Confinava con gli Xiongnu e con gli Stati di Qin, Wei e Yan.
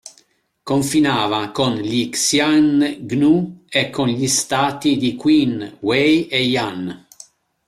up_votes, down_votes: 2, 0